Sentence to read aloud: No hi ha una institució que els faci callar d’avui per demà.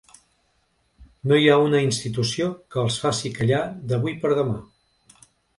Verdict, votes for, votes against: accepted, 3, 0